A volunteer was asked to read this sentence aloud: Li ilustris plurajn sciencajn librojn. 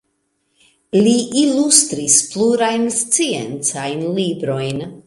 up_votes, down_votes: 2, 0